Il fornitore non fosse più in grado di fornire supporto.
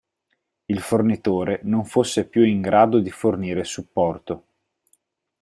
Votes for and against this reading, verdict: 4, 0, accepted